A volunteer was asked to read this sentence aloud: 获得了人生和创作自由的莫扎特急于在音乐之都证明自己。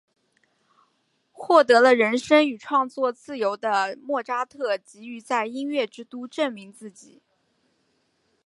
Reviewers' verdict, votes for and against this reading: rejected, 1, 2